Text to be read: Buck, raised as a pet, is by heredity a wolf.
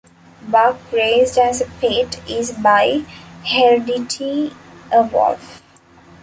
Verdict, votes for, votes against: rejected, 1, 2